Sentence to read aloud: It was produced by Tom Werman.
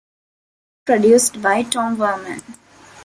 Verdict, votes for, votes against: rejected, 0, 2